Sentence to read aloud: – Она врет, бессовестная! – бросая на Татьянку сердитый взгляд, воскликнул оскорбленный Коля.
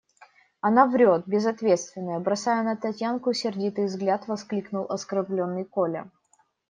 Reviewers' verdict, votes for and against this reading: rejected, 0, 2